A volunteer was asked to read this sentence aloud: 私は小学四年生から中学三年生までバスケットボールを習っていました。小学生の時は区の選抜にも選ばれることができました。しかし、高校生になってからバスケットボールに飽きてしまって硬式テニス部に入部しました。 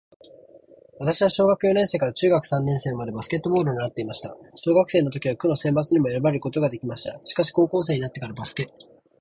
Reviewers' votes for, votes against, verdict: 0, 6, rejected